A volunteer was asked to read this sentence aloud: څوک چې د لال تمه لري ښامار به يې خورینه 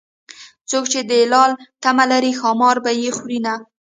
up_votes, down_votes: 0, 2